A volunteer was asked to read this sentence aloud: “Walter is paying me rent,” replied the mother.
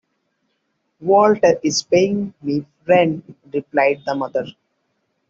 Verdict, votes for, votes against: accepted, 2, 1